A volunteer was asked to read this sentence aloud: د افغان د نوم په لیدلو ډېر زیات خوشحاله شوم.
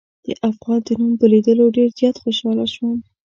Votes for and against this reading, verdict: 2, 0, accepted